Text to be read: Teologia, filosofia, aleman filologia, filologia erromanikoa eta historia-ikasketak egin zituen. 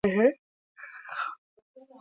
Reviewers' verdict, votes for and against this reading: rejected, 0, 2